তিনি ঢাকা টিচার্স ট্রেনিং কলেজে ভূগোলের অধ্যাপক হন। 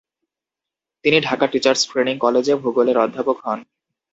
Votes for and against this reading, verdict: 2, 0, accepted